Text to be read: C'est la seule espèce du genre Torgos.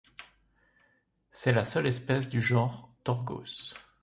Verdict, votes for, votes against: accepted, 2, 0